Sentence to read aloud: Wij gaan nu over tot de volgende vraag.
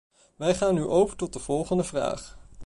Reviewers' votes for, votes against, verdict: 2, 0, accepted